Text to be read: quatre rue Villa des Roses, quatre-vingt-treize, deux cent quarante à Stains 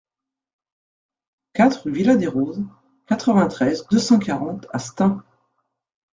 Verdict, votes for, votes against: rejected, 1, 2